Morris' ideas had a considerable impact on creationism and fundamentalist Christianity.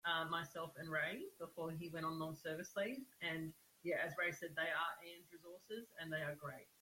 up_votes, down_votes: 0, 2